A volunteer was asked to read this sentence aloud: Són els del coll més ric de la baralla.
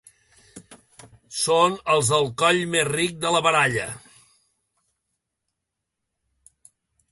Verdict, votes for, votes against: accepted, 2, 1